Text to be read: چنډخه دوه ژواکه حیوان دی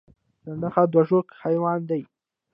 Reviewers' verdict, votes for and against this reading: accepted, 2, 1